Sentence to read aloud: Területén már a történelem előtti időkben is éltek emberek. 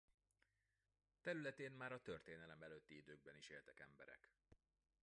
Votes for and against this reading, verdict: 2, 0, accepted